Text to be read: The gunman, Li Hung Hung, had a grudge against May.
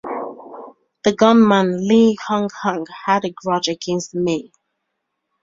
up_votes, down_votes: 2, 0